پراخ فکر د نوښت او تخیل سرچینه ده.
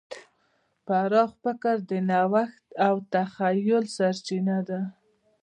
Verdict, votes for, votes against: rejected, 1, 2